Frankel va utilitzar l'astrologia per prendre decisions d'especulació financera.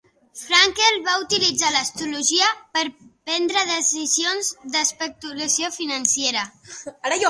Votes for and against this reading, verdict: 0, 2, rejected